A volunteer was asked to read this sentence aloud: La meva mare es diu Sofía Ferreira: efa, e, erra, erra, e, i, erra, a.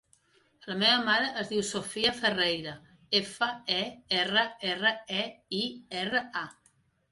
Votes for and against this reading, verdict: 3, 0, accepted